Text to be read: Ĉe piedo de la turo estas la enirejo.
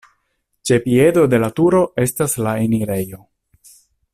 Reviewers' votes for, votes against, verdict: 2, 0, accepted